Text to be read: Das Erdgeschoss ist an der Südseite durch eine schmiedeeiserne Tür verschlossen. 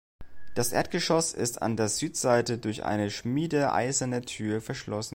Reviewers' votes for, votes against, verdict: 2, 0, accepted